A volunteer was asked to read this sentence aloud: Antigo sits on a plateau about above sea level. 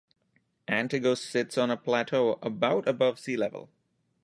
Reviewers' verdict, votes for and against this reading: accepted, 2, 0